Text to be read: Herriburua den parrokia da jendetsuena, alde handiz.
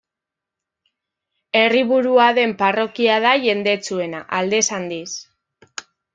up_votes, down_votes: 0, 2